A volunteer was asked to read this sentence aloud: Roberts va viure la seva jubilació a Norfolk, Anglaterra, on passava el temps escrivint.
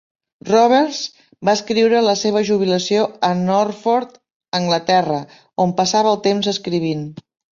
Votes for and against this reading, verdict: 0, 3, rejected